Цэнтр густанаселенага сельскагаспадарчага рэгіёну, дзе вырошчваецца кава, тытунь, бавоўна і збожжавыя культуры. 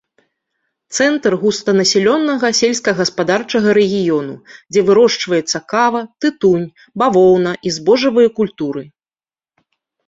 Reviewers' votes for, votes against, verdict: 1, 2, rejected